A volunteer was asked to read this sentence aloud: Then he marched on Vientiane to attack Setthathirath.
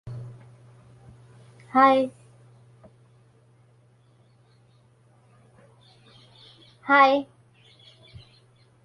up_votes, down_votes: 0, 2